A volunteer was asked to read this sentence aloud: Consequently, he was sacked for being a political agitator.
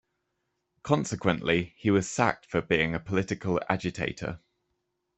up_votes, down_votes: 2, 0